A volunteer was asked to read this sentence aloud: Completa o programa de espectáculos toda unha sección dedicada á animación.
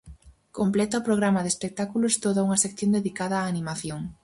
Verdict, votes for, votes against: accepted, 4, 0